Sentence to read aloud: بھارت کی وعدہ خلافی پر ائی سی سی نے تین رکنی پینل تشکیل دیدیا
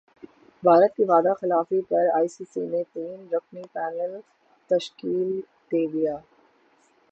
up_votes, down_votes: 6, 0